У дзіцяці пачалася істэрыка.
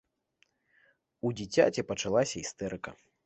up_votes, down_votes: 2, 0